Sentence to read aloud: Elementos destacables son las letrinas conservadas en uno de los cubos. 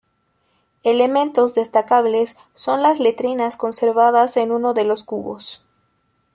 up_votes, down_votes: 2, 0